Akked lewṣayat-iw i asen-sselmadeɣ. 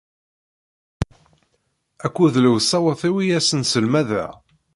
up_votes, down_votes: 2, 0